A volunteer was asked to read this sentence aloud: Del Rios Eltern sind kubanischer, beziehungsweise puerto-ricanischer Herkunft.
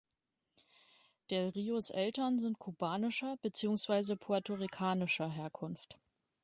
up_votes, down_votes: 2, 0